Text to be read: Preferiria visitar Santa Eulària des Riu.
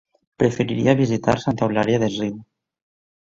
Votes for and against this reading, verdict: 2, 0, accepted